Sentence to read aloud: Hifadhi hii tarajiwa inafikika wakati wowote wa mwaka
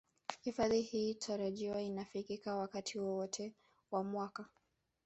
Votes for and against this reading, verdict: 1, 2, rejected